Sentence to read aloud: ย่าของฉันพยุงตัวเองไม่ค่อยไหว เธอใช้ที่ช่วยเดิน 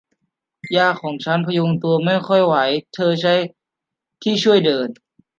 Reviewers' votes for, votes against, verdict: 1, 2, rejected